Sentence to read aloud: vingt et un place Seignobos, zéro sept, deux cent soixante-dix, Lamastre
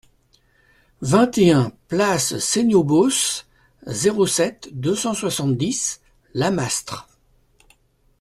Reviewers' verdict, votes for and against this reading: accepted, 2, 0